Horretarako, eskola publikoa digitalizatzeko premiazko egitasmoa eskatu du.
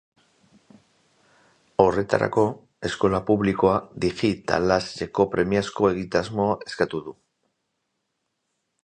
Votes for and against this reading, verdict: 0, 2, rejected